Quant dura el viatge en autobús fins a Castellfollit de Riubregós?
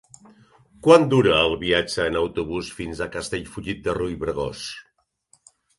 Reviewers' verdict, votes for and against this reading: accepted, 2, 1